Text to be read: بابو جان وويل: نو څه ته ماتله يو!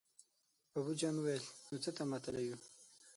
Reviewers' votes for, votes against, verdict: 9, 12, rejected